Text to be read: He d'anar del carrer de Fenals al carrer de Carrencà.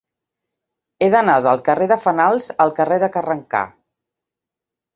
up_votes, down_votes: 4, 1